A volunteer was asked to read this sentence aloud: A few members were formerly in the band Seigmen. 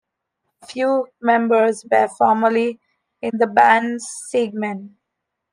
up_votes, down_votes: 1, 2